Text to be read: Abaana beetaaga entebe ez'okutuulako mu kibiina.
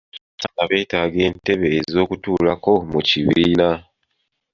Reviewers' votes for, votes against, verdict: 1, 2, rejected